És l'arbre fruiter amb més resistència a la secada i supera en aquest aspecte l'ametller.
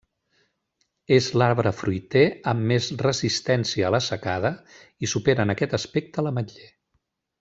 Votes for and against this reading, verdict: 0, 2, rejected